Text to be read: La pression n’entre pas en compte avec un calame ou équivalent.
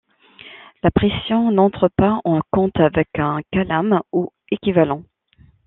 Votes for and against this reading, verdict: 2, 0, accepted